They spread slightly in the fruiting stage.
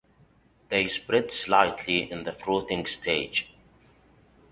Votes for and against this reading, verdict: 2, 0, accepted